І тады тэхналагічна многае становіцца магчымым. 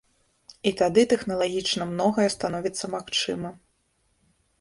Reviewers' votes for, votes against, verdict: 1, 2, rejected